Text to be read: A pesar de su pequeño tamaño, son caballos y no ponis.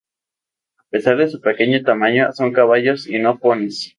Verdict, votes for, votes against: accepted, 2, 0